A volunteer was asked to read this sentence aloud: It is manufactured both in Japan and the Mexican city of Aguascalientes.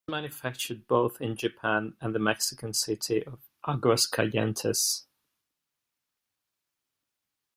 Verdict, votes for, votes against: rejected, 1, 2